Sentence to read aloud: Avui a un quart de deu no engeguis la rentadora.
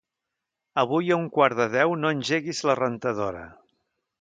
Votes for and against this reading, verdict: 2, 0, accepted